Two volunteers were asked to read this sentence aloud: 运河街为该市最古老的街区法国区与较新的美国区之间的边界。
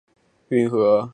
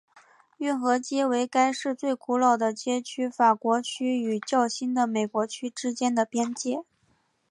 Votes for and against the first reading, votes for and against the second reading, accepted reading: 1, 2, 2, 0, second